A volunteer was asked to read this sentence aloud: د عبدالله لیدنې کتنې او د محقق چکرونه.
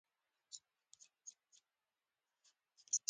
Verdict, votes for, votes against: rejected, 0, 2